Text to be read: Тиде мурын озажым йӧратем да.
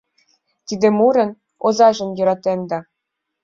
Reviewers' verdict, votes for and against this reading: accepted, 2, 0